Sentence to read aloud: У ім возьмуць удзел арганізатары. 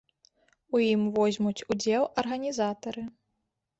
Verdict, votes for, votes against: accepted, 2, 0